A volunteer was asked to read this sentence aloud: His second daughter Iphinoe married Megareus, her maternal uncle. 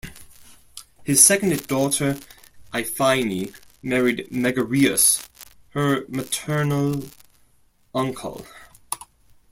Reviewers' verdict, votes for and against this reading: rejected, 1, 2